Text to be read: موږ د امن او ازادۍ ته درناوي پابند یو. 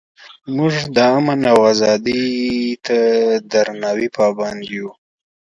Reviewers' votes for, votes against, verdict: 2, 0, accepted